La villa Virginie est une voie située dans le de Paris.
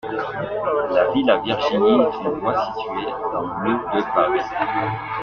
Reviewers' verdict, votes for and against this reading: accepted, 2, 0